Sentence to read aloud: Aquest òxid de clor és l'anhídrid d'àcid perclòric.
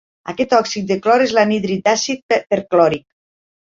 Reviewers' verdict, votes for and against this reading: rejected, 0, 2